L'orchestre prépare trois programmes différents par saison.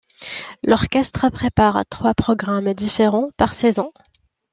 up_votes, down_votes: 2, 0